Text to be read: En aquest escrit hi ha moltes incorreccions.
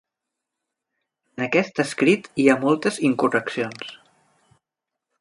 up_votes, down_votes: 3, 0